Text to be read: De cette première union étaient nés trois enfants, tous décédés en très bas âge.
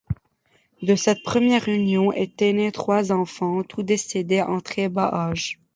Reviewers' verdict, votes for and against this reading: rejected, 1, 2